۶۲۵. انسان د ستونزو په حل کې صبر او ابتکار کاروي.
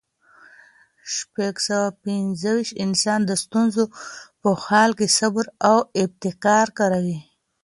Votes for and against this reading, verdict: 0, 2, rejected